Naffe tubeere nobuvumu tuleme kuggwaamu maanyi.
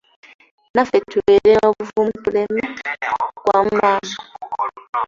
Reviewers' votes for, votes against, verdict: 1, 2, rejected